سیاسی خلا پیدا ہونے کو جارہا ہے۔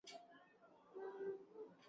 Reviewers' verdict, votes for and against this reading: rejected, 0, 3